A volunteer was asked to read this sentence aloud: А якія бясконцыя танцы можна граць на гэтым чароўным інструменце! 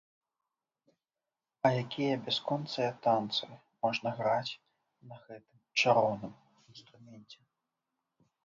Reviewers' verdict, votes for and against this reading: rejected, 1, 2